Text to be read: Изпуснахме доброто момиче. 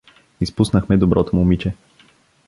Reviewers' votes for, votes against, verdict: 2, 0, accepted